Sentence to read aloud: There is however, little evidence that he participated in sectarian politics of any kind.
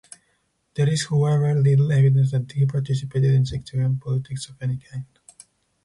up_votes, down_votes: 2, 4